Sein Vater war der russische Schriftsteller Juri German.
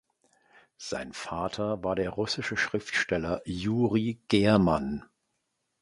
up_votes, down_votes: 2, 0